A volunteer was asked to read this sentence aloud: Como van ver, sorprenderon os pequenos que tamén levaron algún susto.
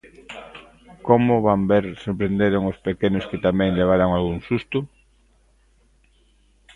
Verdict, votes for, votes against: rejected, 0, 2